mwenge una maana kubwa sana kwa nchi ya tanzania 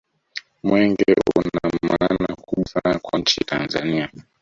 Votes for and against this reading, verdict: 1, 2, rejected